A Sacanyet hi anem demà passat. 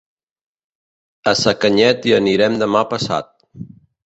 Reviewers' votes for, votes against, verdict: 1, 2, rejected